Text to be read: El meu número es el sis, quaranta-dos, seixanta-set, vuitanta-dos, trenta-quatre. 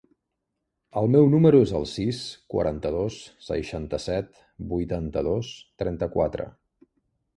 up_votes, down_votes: 3, 0